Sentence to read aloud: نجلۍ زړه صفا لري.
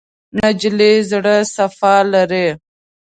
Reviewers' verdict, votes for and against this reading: rejected, 1, 2